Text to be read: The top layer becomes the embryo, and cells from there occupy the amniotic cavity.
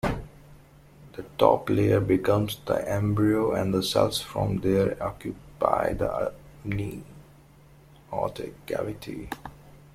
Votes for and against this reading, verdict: 1, 2, rejected